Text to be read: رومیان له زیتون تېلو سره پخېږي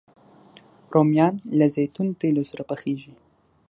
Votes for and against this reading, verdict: 12, 0, accepted